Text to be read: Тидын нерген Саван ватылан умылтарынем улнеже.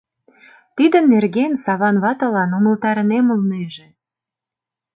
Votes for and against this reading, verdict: 2, 0, accepted